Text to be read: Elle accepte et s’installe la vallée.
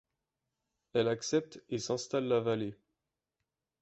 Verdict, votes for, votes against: accepted, 2, 0